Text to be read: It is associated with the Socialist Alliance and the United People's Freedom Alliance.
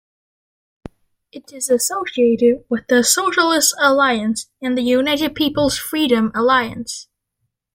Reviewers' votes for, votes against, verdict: 2, 0, accepted